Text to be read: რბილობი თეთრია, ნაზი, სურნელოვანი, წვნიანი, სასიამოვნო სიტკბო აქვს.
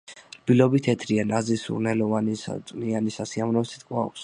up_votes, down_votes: 2, 0